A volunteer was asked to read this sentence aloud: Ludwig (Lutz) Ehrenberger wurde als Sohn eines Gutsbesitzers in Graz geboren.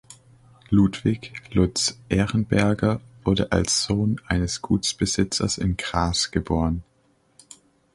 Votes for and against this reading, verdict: 0, 3, rejected